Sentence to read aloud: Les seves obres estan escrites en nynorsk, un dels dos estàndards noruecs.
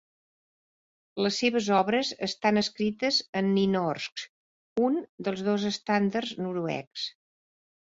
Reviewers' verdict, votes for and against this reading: accepted, 3, 0